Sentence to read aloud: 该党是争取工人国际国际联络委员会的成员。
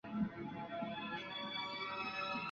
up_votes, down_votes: 0, 3